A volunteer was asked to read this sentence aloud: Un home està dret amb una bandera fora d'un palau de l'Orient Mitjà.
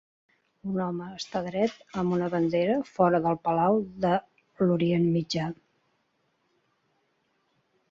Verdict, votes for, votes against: rejected, 0, 2